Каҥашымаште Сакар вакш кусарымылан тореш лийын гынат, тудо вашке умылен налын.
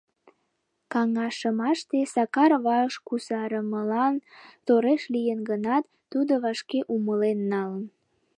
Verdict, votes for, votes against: rejected, 1, 2